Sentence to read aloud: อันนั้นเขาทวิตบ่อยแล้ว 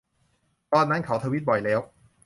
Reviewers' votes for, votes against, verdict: 0, 2, rejected